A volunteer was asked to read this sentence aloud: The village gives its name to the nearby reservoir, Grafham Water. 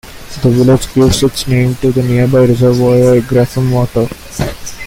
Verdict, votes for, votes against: accepted, 2, 0